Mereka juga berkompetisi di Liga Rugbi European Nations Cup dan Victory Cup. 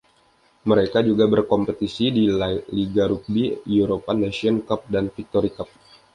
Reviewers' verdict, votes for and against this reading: rejected, 1, 2